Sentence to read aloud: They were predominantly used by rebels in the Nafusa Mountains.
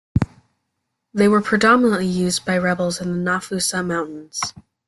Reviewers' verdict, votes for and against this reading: accepted, 2, 0